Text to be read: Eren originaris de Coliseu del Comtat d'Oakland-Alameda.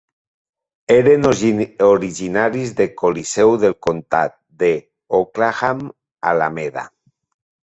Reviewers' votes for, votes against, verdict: 0, 2, rejected